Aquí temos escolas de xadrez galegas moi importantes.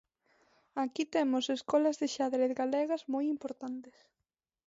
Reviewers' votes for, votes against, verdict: 1, 2, rejected